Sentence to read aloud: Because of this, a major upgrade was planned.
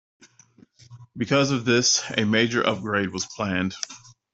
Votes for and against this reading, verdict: 2, 0, accepted